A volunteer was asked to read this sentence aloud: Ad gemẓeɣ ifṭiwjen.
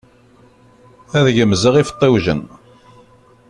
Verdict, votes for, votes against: rejected, 1, 2